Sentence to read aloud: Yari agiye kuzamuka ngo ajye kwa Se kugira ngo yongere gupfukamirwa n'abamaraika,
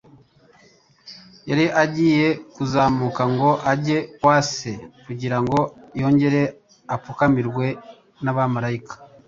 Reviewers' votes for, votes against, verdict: 0, 2, rejected